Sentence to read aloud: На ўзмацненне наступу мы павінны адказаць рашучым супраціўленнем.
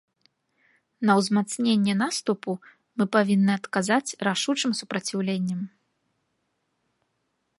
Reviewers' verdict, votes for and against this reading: accepted, 3, 0